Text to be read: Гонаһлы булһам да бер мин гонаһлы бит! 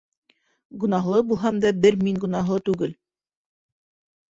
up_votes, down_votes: 2, 3